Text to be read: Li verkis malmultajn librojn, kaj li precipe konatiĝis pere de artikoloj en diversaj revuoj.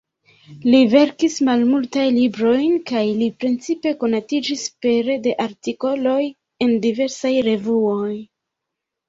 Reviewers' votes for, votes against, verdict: 2, 0, accepted